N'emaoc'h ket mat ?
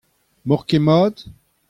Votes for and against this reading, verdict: 2, 1, accepted